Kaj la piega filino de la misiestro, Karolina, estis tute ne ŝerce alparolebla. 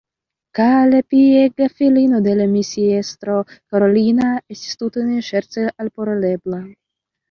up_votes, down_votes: 0, 2